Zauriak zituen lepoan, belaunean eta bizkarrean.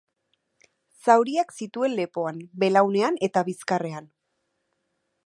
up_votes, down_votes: 2, 0